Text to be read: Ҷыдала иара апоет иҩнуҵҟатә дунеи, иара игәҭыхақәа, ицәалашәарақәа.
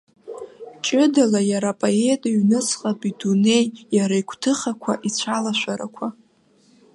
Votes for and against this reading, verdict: 2, 0, accepted